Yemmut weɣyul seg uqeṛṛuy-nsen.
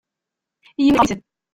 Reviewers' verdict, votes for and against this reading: rejected, 0, 2